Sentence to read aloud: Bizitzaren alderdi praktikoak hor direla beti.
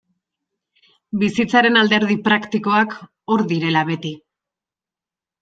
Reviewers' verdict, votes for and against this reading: accepted, 3, 0